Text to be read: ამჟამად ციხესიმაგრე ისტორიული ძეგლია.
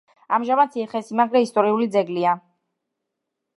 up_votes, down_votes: 1, 2